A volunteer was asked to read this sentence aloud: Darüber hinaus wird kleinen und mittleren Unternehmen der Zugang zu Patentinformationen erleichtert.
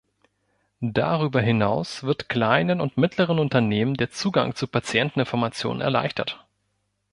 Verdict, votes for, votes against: rejected, 0, 2